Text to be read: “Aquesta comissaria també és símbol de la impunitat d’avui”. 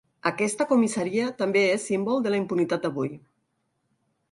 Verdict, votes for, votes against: accepted, 4, 0